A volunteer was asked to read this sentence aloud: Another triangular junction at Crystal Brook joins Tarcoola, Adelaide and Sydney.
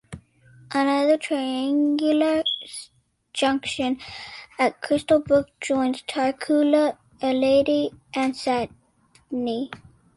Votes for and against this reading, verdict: 0, 2, rejected